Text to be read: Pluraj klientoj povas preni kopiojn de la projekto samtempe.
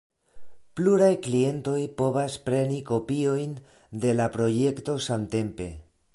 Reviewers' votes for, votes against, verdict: 2, 0, accepted